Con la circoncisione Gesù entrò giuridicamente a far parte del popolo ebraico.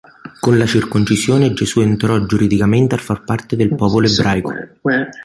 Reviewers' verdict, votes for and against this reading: rejected, 0, 2